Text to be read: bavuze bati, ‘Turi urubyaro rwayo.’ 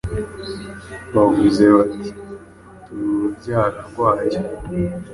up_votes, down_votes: 2, 0